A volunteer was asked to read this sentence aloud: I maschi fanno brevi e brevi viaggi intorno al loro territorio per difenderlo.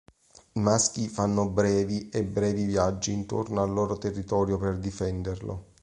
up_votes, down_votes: 2, 0